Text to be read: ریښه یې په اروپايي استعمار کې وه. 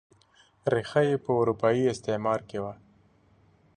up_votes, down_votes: 2, 0